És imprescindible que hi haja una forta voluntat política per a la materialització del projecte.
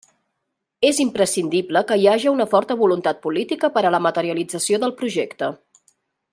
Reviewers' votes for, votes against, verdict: 3, 0, accepted